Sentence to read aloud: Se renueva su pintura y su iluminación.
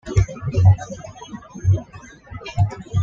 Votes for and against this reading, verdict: 1, 2, rejected